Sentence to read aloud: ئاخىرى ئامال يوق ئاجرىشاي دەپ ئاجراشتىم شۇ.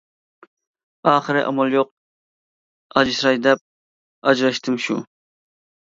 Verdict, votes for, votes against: rejected, 0, 2